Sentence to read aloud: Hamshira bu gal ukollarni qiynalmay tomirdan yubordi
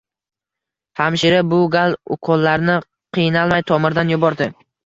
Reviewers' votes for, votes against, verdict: 2, 0, accepted